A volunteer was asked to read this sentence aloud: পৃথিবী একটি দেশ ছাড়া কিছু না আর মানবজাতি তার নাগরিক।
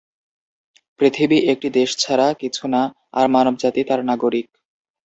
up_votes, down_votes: 2, 0